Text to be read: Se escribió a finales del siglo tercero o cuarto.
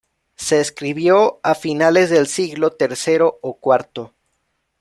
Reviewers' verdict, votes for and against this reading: accepted, 2, 0